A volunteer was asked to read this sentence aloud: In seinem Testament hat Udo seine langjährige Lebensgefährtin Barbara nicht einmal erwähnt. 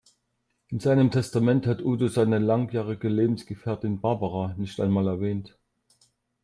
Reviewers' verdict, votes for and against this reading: accepted, 2, 0